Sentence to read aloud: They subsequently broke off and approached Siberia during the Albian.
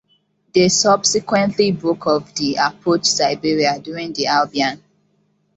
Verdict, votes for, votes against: rejected, 0, 2